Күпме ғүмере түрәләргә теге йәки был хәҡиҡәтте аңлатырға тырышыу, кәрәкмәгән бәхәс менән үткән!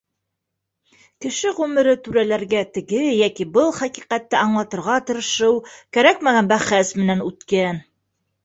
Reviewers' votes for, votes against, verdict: 0, 2, rejected